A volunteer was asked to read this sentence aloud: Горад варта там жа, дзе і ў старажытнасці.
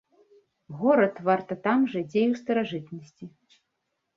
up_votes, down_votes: 2, 0